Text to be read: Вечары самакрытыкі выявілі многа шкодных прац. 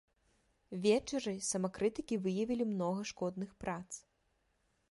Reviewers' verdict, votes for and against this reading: accepted, 2, 1